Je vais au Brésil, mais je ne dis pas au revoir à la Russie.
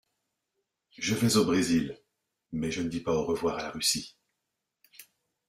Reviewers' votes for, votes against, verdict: 2, 0, accepted